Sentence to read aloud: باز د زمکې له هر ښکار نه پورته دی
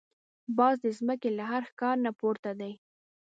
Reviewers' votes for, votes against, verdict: 2, 0, accepted